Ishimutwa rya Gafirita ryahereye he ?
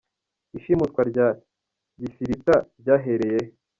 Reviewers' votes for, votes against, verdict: 2, 3, rejected